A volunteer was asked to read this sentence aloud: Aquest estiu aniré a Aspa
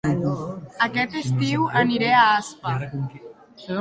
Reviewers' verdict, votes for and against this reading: rejected, 1, 2